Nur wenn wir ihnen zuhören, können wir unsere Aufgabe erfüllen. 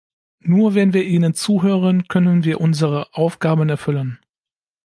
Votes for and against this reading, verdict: 1, 2, rejected